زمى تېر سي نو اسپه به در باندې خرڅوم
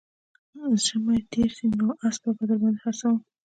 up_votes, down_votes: 2, 1